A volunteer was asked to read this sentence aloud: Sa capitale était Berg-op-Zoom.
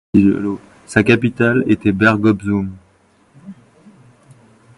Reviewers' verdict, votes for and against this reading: rejected, 0, 2